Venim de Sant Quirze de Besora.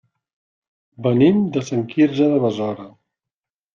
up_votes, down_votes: 3, 0